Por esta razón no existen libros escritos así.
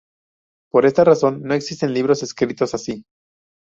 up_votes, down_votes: 2, 0